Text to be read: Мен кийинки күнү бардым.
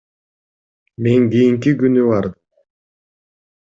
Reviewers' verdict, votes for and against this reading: rejected, 1, 2